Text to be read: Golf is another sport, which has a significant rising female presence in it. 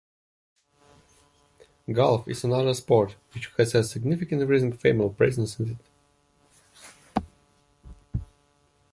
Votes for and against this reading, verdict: 2, 3, rejected